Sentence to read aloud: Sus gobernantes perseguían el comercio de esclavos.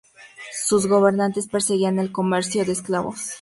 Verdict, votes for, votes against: accepted, 2, 0